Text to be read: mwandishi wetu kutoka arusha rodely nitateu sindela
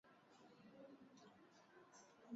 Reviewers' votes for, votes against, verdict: 0, 2, rejected